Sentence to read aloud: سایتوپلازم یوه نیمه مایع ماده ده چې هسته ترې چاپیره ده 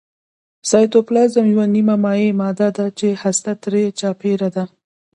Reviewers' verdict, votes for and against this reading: rejected, 1, 2